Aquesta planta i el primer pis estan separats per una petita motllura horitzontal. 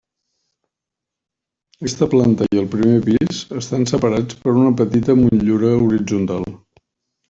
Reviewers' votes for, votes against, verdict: 2, 0, accepted